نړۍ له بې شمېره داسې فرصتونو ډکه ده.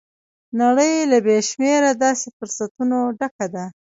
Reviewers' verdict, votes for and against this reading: rejected, 0, 2